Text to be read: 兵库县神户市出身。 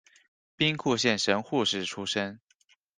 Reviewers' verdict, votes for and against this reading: rejected, 1, 2